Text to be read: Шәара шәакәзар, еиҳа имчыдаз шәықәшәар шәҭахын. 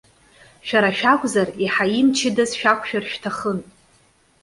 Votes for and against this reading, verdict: 2, 1, accepted